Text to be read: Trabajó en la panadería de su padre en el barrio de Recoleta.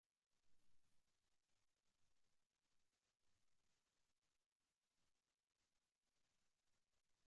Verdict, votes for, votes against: rejected, 0, 2